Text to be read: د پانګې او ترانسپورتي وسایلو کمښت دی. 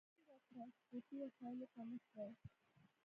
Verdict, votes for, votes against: rejected, 1, 2